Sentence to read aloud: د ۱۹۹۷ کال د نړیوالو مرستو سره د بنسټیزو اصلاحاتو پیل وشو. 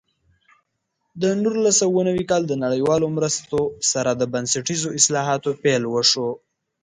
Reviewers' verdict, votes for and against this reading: rejected, 0, 2